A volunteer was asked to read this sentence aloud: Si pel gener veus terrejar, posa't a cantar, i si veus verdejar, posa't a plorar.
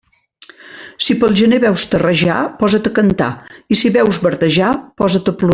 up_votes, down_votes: 0, 2